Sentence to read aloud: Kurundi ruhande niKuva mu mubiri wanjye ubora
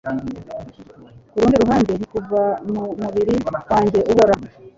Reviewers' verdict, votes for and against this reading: accepted, 2, 0